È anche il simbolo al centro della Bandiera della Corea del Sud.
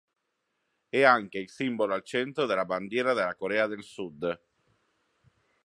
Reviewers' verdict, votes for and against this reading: accepted, 2, 0